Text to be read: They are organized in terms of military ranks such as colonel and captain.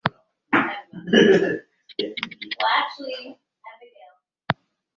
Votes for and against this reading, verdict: 0, 2, rejected